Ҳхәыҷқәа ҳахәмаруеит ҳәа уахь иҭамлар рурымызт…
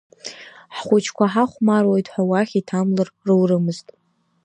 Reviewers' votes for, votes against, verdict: 1, 2, rejected